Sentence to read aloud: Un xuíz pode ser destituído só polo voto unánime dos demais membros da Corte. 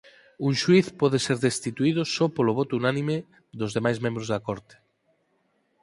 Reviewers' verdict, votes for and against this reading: accepted, 4, 0